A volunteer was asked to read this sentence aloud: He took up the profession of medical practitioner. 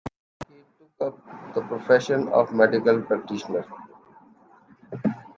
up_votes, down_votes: 2, 1